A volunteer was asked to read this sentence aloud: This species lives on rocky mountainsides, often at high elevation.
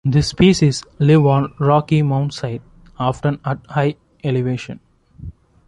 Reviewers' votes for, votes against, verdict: 1, 2, rejected